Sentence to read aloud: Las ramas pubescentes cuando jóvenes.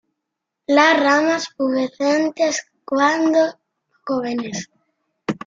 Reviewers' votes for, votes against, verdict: 0, 2, rejected